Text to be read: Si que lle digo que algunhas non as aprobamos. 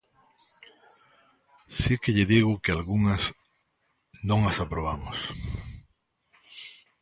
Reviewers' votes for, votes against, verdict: 2, 0, accepted